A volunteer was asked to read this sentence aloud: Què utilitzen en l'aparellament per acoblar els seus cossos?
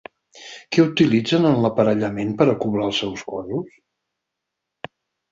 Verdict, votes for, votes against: rejected, 2, 4